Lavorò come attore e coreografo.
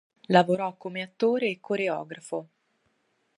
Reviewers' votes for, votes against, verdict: 2, 2, rejected